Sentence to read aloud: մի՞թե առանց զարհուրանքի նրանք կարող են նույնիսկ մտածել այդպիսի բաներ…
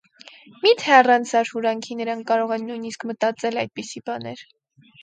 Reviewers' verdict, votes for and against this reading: accepted, 4, 0